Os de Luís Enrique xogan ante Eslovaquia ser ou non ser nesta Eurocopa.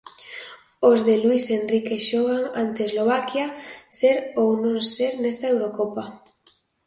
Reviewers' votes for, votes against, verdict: 2, 0, accepted